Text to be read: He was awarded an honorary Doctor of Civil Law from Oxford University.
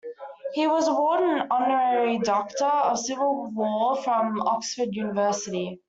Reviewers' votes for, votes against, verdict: 2, 1, accepted